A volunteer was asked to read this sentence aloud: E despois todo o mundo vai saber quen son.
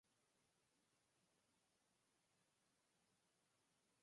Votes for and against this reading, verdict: 0, 4, rejected